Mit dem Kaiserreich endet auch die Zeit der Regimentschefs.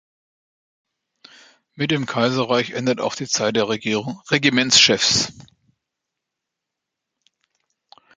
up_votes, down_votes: 0, 3